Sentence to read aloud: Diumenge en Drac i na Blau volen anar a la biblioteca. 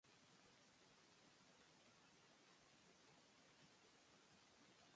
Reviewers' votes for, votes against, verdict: 0, 2, rejected